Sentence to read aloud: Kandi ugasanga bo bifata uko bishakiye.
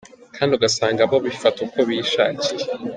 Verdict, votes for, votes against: accepted, 4, 0